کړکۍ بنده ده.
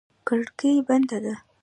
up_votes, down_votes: 2, 0